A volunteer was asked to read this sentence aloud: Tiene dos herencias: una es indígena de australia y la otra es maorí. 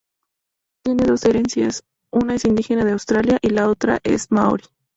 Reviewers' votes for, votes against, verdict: 0, 4, rejected